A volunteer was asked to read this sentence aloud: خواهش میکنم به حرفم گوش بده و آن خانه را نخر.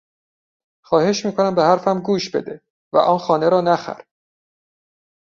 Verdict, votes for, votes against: accepted, 2, 0